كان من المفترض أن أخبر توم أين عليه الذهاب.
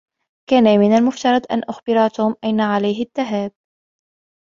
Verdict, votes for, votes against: accepted, 2, 0